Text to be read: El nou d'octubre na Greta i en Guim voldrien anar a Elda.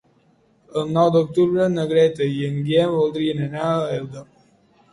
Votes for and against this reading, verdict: 0, 2, rejected